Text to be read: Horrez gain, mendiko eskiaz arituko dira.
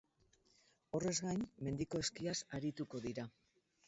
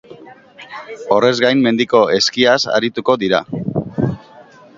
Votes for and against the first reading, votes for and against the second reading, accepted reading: 2, 2, 3, 0, second